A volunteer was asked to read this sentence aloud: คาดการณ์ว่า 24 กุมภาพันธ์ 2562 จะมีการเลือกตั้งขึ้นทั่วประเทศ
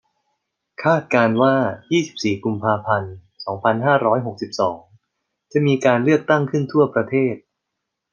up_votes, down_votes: 0, 2